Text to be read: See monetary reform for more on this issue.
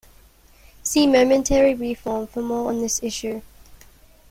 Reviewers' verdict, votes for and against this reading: rejected, 0, 2